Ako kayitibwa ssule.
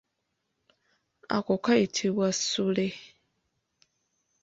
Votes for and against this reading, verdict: 0, 2, rejected